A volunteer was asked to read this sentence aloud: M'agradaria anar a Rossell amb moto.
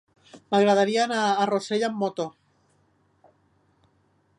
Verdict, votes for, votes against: accepted, 3, 0